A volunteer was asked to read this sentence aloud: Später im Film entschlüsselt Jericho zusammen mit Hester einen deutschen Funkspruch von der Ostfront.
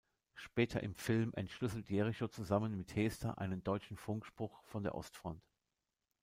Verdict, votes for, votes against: accepted, 2, 0